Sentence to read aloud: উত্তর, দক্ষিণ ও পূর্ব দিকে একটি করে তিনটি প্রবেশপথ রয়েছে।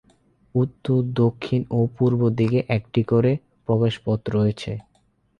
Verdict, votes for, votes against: rejected, 0, 8